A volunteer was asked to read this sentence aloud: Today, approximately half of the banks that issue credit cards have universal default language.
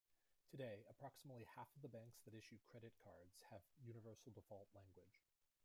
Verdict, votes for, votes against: rejected, 1, 2